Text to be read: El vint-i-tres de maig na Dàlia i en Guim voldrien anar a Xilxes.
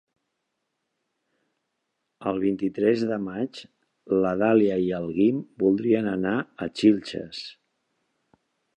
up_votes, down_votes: 0, 2